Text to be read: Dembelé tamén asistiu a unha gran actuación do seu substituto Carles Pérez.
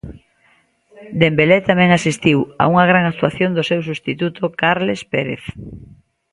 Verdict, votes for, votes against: rejected, 1, 2